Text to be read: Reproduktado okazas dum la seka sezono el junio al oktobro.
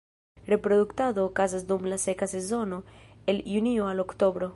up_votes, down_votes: 2, 0